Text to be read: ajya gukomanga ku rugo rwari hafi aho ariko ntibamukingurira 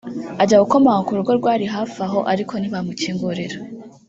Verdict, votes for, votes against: accepted, 2, 0